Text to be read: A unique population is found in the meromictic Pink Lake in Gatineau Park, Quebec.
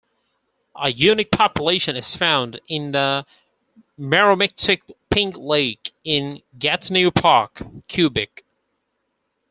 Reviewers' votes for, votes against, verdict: 0, 4, rejected